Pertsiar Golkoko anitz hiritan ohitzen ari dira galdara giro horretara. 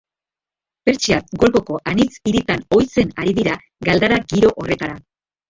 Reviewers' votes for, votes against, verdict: 1, 2, rejected